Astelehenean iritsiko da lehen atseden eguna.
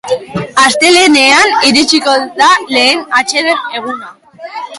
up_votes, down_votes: 0, 2